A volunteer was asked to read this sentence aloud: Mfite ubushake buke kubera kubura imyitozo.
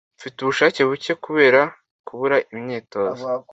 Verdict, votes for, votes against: accepted, 2, 0